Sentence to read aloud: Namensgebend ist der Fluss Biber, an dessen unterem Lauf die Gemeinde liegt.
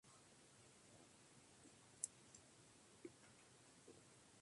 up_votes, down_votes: 0, 2